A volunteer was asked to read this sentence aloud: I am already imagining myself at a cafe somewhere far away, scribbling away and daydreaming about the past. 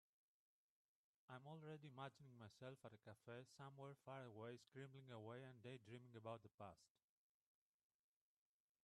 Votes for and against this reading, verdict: 0, 2, rejected